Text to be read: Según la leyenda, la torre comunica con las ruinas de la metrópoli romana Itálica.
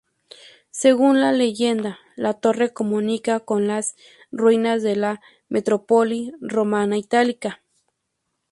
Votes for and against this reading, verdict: 0, 2, rejected